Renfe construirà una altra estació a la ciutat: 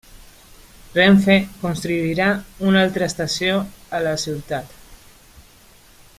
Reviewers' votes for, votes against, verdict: 0, 2, rejected